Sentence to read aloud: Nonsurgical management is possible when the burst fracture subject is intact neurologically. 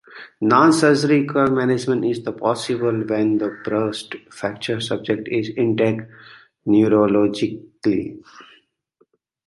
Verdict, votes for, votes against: rejected, 0, 3